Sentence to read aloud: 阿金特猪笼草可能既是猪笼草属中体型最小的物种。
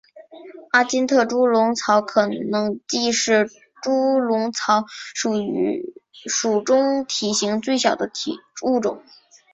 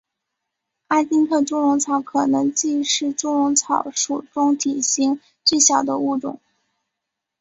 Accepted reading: second